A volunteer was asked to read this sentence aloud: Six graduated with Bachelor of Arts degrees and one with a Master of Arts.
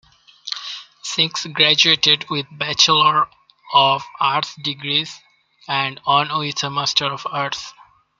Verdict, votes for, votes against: rejected, 1, 2